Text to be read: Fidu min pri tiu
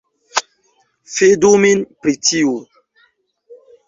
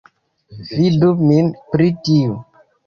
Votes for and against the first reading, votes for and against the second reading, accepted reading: 2, 0, 1, 2, first